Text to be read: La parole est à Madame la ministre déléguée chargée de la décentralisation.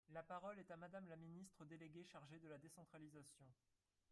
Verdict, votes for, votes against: rejected, 0, 3